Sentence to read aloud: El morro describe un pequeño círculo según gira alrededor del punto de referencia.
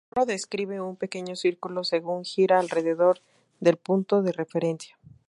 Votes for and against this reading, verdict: 0, 2, rejected